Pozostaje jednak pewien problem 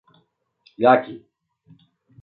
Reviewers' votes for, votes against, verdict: 0, 2, rejected